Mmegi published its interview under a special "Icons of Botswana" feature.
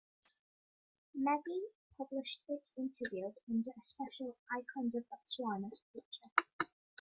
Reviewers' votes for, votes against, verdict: 2, 0, accepted